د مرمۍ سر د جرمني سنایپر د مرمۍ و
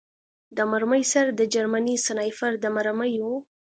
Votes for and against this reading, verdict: 2, 0, accepted